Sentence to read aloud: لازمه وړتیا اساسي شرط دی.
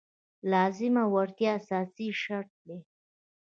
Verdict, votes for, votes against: rejected, 1, 2